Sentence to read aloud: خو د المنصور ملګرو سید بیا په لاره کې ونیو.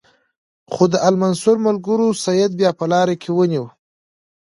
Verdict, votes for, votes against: accepted, 2, 0